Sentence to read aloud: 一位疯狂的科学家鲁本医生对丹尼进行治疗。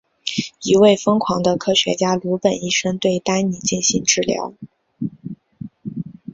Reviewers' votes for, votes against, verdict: 2, 0, accepted